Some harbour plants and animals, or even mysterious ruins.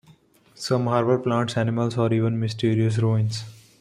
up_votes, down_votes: 2, 0